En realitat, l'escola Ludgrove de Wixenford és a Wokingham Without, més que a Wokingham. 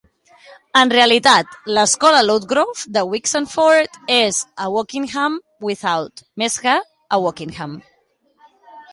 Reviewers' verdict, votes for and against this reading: accepted, 2, 1